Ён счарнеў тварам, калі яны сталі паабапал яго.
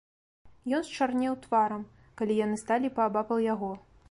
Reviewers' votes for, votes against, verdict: 3, 0, accepted